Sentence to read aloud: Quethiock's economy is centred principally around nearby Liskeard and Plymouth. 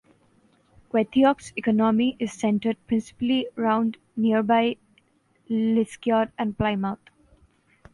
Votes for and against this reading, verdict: 0, 2, rejected